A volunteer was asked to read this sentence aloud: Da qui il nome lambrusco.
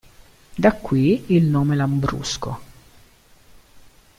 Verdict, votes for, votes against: accepted, 2, 0